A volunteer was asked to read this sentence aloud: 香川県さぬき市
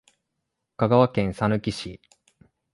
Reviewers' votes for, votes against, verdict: 2, 0, accepted